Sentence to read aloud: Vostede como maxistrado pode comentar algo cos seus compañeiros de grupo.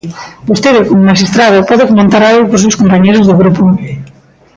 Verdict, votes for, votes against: rejected, 0, 2